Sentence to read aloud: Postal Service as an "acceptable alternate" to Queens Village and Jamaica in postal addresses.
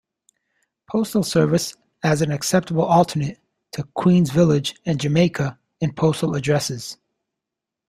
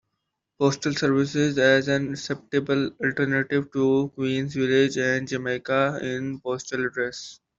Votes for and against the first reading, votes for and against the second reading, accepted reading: 2, 0, 0, 2, first